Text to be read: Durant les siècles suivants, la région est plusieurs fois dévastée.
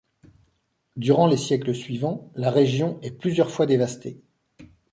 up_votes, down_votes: 2, 0